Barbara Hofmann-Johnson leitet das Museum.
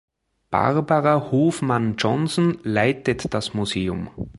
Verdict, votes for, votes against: accepted, 2, 0